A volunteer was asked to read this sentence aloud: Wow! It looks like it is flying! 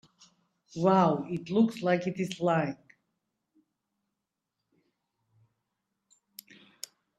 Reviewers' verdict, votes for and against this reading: accepted, 2, 0